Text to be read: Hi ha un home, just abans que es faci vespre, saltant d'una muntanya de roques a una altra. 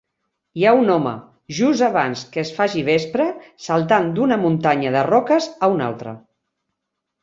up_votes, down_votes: 4, 0